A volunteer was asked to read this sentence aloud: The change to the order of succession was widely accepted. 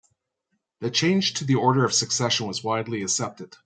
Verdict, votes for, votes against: accepted, 2, 0